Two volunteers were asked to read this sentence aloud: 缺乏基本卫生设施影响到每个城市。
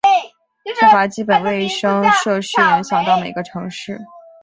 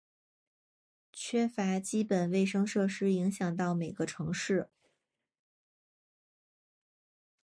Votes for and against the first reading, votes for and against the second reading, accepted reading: 1, 2, 2, 1, second